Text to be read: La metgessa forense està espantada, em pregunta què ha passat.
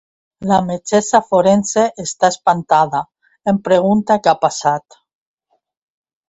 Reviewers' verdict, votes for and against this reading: accepted, 2, 0